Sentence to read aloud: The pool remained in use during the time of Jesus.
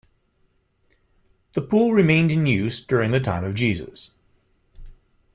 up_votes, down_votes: 2, 0